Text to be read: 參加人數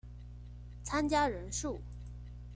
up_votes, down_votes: 2, 0